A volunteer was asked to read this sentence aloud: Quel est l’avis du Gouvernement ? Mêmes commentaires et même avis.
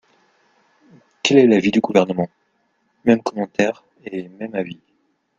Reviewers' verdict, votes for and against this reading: accepted, 2, 0